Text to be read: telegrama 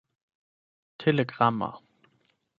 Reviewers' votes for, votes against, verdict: 12, 0, accepted